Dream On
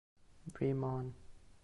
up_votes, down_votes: 1, 2